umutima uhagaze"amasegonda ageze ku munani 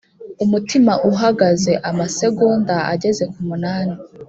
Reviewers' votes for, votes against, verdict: 2, 0, accepted